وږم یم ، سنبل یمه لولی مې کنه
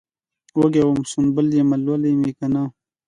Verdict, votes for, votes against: accepted, 2, 0